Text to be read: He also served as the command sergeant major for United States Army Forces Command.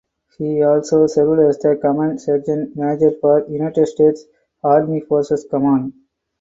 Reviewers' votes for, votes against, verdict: 4, 0, accepted